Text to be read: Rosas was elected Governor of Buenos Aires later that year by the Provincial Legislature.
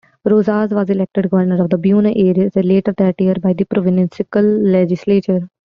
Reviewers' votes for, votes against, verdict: 0, 2, rejected